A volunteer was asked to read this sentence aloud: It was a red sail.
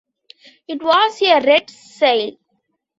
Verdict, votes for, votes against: accepted, 2, 0